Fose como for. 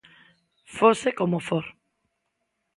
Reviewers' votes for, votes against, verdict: 2, 0, accepted